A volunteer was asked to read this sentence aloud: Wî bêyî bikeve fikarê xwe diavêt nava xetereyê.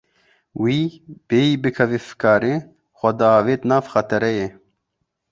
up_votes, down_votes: 1, 2